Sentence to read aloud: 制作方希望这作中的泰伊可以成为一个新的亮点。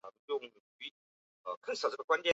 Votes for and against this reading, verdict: 1, 3, rejected